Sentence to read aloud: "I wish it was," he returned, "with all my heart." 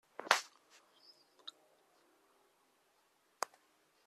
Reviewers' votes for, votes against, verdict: 1, 2, rejected